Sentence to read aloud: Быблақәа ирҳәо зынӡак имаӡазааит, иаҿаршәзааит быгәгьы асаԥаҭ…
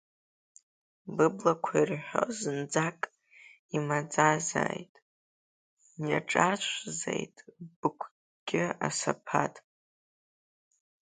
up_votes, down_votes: 3, 2